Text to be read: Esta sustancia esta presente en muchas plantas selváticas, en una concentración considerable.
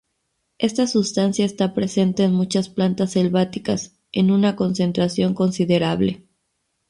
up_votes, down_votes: 2, 0